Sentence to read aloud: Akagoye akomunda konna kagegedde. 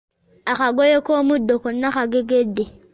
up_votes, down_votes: 0, 2